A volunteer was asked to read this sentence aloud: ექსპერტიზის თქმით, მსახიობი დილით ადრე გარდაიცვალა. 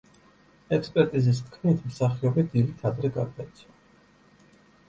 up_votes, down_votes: 1, 2